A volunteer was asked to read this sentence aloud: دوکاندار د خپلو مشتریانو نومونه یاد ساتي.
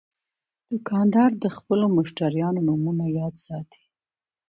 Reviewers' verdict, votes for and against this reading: accepted, 2, 1